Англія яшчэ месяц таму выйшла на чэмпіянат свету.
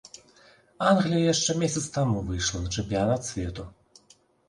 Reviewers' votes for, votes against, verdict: 4, 0, accepted